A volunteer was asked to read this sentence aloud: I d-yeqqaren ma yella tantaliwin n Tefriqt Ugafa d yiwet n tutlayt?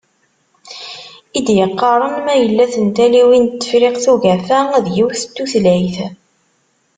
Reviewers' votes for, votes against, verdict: 2, 1, accepted